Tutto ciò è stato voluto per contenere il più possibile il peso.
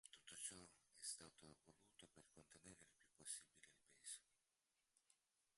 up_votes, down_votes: 0, 2